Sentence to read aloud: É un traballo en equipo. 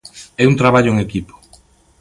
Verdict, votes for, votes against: accepted, 2, 0